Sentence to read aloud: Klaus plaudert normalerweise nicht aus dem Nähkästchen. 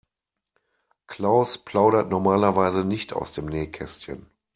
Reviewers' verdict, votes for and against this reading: accepted, 2, 0